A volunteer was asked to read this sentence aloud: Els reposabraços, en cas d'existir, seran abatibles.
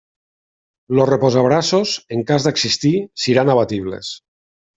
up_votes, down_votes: 0, 2